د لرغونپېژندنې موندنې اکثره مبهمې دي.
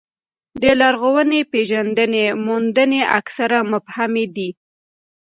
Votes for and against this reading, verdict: 2, 0, accepted